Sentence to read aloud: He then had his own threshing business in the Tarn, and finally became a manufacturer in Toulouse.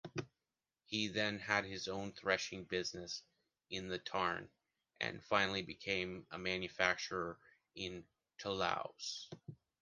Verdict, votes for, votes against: rejected, 0, 2